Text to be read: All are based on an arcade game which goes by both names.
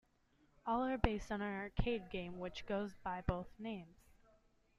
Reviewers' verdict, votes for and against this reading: accepted, 2, 0